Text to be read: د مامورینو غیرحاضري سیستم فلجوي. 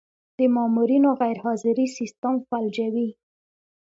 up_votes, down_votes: 2, 0